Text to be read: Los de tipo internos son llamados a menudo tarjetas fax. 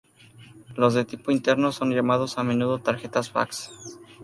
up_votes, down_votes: 2, 0